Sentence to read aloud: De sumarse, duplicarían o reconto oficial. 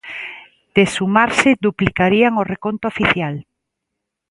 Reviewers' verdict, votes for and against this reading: accepted, 2, 0